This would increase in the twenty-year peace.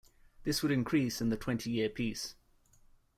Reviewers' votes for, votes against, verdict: 2, 1, accepted